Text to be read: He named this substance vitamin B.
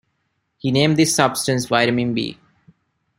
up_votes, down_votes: 2, 1